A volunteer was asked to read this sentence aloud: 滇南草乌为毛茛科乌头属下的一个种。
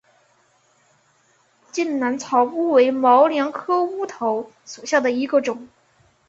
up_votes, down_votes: 4, 0